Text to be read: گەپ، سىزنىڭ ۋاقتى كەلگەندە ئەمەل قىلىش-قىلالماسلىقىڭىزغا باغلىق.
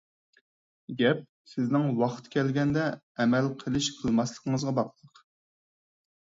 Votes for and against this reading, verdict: 2, 4, rejected